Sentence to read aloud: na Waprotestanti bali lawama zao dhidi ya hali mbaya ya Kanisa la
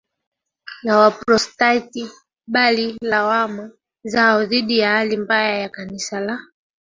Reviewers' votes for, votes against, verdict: 1, 2, rejected